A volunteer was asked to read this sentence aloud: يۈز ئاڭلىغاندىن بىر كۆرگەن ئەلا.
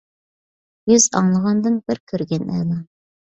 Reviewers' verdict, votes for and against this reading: accepted, 2, 0